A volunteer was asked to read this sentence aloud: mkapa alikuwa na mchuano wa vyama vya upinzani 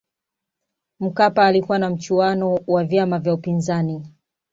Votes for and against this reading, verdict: 2, 0, accepted